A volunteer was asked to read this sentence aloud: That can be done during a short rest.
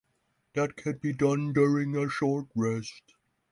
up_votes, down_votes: 6, 3